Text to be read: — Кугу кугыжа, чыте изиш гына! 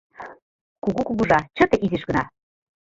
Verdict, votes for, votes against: rejected, 1, 2